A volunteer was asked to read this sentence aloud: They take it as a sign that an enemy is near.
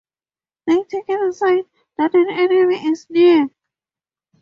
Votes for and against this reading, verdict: 0, 4, rejected